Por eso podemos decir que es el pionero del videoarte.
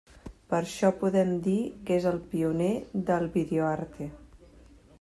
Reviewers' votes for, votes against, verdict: 0, 2, rejected